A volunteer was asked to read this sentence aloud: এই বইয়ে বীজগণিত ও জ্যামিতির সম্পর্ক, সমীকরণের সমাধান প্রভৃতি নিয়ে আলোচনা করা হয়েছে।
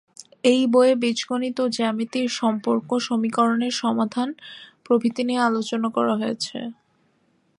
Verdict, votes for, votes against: accepted, 5, 1